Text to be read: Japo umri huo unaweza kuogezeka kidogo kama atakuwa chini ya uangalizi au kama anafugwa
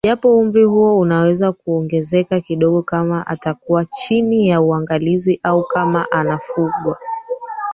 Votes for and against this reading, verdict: 1, 4, rejected